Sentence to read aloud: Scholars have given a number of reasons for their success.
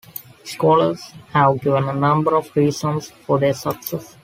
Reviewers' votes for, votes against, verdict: 2, 0, accepted